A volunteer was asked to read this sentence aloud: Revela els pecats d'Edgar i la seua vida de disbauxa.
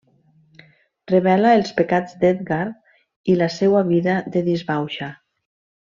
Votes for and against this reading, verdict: 3, 0, accepted